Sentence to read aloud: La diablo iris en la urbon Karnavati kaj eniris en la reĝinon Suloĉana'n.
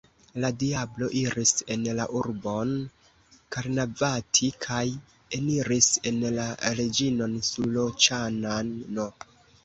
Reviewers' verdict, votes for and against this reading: accepted, 2, 1